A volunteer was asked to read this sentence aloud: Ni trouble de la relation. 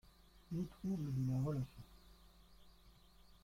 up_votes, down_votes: 0, 2